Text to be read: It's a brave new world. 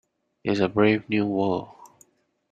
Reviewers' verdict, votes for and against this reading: accepted, 2, 0